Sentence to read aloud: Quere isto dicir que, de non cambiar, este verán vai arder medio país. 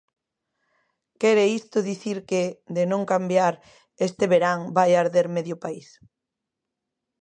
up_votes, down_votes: 2, 0